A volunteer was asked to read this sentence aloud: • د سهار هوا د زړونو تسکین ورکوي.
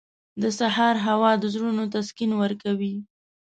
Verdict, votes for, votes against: accepted, 2, 0